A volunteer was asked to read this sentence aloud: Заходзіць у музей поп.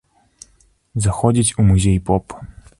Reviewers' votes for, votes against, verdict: 2, 0, accepted